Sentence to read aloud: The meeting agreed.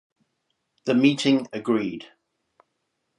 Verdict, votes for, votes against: rejected, 2, 4